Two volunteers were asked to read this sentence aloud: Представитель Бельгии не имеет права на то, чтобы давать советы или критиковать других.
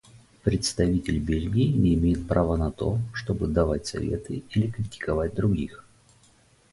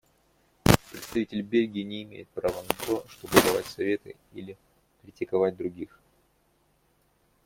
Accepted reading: first